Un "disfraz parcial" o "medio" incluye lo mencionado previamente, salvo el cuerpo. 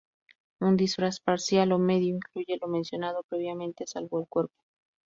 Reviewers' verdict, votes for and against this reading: rejected, 0, 2